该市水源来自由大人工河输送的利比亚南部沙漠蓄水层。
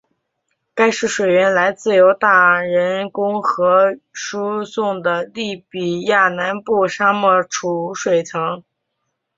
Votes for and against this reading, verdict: 2, 0, accepted